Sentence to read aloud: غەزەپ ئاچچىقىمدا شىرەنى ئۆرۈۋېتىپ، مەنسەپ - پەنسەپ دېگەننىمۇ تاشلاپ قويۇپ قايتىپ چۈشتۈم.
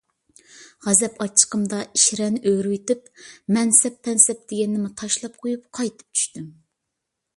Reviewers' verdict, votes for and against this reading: accepted, 2, 0